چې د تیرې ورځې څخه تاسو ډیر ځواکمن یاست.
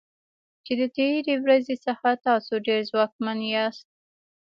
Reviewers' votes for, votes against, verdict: 2, 0, accepted